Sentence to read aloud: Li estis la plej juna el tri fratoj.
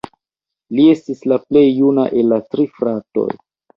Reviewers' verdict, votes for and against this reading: rejected, 0, 2